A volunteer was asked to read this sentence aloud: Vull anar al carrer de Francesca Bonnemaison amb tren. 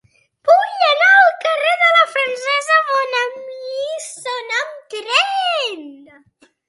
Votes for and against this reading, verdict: 0, 2, rejected